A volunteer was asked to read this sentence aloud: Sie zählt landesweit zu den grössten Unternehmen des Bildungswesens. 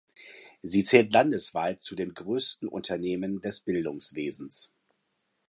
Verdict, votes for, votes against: accepted, 2, 0